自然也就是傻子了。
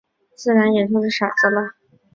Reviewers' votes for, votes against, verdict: 3, 0, accepted